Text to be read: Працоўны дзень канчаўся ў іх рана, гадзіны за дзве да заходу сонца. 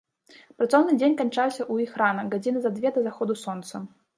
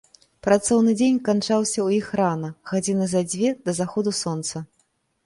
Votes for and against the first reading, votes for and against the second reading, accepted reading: 1, 2, 2, 0, second